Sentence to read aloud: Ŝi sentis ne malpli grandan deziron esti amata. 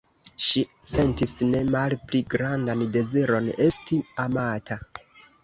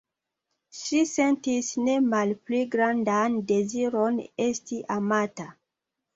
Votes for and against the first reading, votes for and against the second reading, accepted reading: 1, 2, 2, 1, second